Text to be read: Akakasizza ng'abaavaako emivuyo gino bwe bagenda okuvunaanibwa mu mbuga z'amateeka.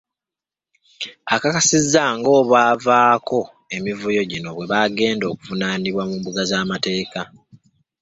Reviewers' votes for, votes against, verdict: 1, 2, rejected